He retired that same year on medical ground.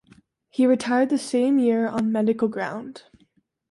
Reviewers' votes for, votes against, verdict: 2, 0, accepted